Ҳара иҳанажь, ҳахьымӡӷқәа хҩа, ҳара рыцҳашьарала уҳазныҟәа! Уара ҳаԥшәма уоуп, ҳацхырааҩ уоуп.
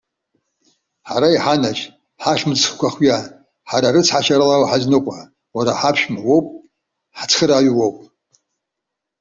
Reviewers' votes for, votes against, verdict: 2, 1, accepted